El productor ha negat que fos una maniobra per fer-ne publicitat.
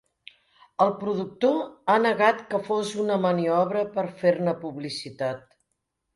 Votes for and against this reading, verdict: 2, 0, accepted